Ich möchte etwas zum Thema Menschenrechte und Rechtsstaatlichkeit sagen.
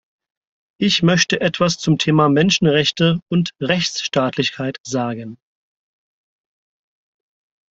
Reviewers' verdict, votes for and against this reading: accepted, 4, 0